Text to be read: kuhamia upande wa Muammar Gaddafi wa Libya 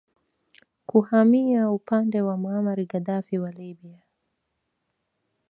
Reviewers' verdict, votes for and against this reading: rejected, 1, 2